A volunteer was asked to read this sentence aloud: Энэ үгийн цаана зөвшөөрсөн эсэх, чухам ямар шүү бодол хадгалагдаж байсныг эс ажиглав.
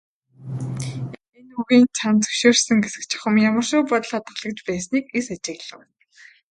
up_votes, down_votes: 2, 2